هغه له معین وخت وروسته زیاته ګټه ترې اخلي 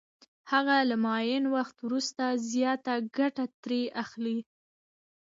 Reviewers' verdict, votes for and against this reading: rejected, 1, 2